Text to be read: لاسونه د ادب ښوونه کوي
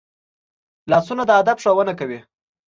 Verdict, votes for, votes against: accepted, 2, 0